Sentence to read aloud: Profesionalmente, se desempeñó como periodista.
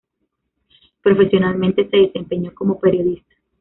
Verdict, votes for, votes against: accepted, 2, 1